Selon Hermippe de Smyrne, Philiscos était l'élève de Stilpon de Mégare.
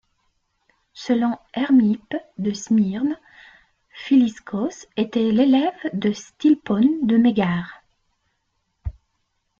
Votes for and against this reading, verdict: 2, 1, accepted